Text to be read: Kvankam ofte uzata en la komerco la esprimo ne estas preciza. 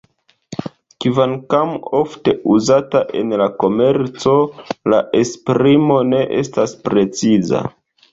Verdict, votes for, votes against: accepted, 2, 1